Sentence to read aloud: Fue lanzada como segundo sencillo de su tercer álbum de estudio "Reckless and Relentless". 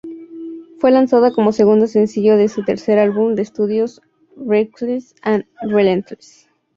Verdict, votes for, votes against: rejected, 0, 2